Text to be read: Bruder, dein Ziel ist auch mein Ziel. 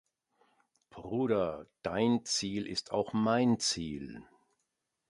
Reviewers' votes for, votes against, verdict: 2, 0, accepted